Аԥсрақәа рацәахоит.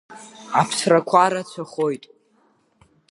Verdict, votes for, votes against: accepted, 2, 0